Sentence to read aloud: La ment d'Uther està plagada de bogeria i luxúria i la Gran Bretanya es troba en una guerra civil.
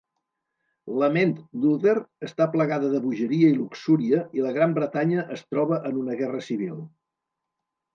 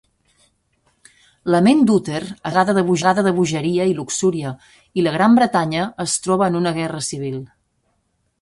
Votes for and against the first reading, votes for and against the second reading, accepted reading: 2, 0, 0, 2, first